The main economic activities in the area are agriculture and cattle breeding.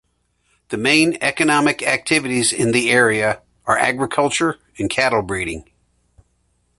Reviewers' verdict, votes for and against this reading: accepted, 2, 0